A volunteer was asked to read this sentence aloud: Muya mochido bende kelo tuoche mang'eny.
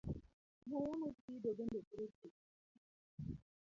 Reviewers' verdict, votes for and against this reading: rejected, 0, 2